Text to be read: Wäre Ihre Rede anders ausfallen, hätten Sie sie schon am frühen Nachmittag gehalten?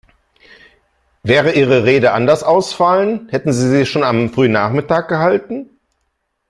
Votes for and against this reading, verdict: 2, 0, accepted